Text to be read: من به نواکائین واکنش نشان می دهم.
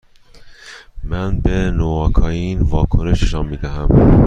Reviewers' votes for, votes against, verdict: 2, 0, accepted